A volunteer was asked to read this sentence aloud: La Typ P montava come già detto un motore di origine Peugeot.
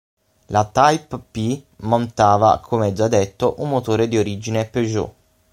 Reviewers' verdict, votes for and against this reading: accepted, 6, 0